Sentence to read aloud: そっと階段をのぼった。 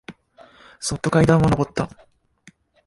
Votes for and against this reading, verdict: 1, 2, rejected